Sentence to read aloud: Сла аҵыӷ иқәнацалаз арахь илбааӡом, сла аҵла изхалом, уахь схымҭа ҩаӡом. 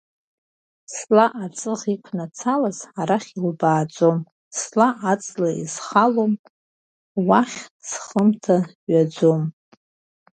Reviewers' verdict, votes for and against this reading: rejected, 1, 2